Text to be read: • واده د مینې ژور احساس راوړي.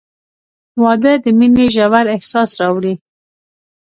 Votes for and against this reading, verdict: 2, 1, accepted